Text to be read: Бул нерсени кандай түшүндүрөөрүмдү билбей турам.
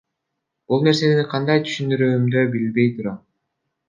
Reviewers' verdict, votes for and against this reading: rejected, 1, 2